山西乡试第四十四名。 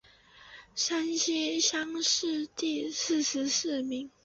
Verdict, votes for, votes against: accepted, 3, 0